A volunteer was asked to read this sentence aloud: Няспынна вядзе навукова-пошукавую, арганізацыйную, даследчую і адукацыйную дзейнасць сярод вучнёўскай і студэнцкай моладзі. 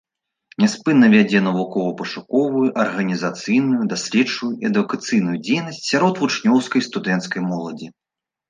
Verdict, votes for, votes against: rejected, 1, 2